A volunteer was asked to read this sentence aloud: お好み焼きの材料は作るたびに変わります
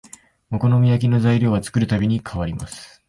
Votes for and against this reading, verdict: 2, 0, accepted